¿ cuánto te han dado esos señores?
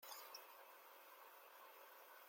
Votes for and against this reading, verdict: 0, 2, rejected